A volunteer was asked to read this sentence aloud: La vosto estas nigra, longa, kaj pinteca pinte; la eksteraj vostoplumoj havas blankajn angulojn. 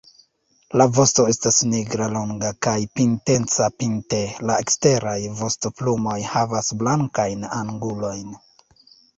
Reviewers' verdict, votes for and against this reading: accepted, 2, 1